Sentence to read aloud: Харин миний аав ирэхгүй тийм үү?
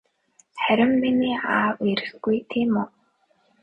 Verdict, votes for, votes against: accepted, 2, 0